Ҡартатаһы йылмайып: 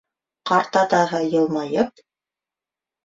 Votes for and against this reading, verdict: 2, 1, accepted